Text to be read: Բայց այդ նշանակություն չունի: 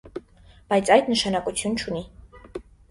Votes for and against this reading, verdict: 2, 0, accepted